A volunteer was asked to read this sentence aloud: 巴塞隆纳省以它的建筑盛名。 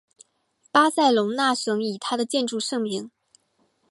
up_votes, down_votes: 3, 0